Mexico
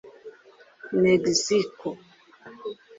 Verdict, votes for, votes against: rejected, 1, 2